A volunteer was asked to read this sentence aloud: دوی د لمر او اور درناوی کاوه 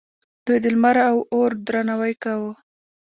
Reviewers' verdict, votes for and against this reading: rejected, 1, 2